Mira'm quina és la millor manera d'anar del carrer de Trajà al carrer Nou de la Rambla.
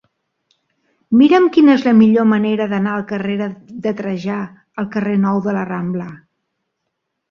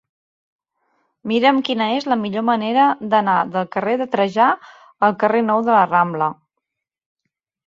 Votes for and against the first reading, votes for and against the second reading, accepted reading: 0, 2, 4, 0, second